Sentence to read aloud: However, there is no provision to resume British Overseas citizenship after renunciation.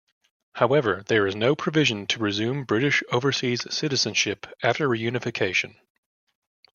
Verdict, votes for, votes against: rejected, 0, 2